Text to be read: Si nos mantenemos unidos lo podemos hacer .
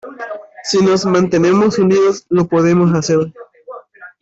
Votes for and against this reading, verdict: 2, 0, accepted